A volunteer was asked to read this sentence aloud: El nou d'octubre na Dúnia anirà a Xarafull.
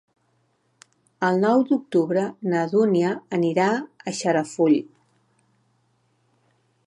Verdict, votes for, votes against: accepted, 2, 0